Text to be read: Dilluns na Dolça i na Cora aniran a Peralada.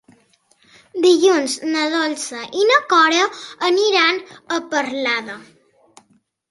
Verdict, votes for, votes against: rejected, 0, 2